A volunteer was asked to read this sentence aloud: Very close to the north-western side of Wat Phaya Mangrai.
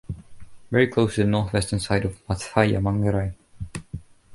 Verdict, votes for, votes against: accepted, 2, 1